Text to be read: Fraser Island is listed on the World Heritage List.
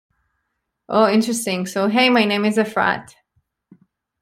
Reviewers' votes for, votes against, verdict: 0, 2, rejected